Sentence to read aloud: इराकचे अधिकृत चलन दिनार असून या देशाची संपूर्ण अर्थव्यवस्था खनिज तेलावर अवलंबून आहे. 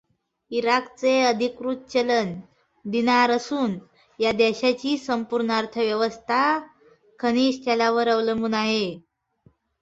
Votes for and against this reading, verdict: 2, 0, accepted